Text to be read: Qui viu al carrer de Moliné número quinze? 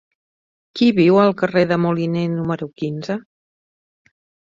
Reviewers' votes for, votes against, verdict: 3, 0, accepted